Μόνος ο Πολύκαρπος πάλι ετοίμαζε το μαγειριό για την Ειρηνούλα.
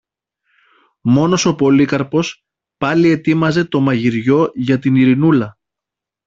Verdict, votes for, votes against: accepted, 2, 0